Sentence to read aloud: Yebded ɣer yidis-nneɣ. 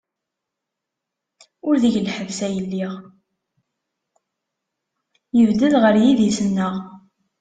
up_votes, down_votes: 1, 2